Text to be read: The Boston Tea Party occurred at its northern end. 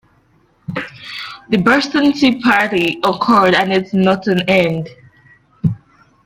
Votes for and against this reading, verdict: 0, 2, rejected